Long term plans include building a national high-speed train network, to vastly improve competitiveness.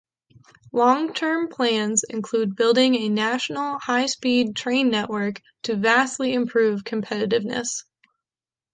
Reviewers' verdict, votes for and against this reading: accepted, 2, 1